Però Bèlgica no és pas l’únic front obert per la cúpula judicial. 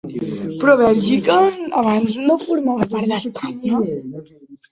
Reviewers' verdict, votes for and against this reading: rejected, 0, 2